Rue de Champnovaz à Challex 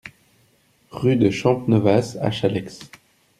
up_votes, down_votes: 2, 0